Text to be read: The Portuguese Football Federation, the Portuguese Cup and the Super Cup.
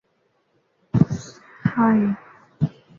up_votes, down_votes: 1, 2